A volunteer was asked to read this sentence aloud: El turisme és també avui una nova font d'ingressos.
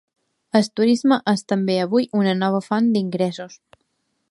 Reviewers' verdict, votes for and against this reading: rejected, 0, 2